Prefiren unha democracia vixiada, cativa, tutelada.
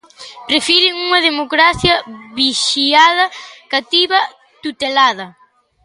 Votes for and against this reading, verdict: 3, 0, accepted